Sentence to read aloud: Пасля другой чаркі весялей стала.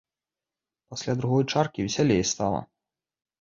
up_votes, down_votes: 2, 0